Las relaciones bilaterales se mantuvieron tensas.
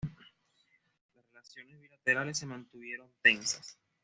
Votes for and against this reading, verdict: 1, 2, rejected